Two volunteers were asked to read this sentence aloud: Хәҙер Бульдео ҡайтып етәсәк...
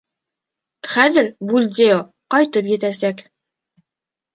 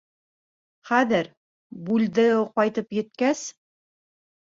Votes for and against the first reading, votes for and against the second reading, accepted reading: 2, 0, 1, 2, first